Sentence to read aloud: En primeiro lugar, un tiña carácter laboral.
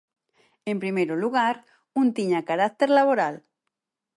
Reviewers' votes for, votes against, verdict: 22, 2, accepted